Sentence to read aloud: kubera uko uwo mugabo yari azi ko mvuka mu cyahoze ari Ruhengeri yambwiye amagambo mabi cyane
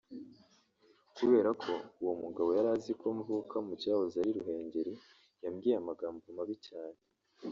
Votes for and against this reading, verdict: 1, 2, rejected